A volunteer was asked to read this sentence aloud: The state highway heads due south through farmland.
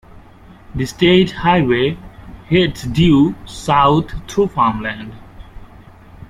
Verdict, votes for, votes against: accepted, 2, 1